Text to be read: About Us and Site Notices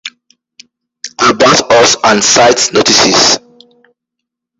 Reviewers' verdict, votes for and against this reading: rejected, 1, 2